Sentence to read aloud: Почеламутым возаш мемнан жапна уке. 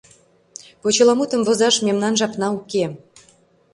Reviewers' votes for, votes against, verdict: 2, 0, accepted